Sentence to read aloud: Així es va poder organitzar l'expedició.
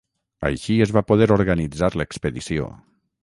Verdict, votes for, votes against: accepted, 6, 0